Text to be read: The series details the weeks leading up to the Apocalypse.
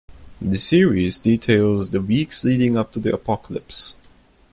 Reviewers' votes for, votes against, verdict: 2, 1, accepted